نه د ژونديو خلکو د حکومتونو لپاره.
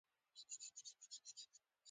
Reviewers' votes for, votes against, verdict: 0, 2, rejected